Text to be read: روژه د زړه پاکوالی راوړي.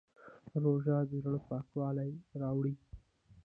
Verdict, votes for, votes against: rejected, 1, 2